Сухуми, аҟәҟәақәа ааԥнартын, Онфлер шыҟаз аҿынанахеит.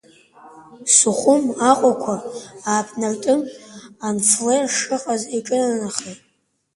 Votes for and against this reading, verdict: 1, 2, rejected